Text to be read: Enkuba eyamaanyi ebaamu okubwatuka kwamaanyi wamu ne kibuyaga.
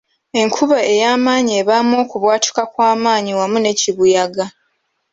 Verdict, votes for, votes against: accepted, 2, 0